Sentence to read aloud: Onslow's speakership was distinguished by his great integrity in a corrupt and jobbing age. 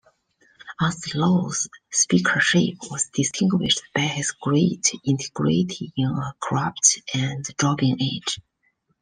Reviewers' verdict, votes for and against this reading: rejected, 1, 2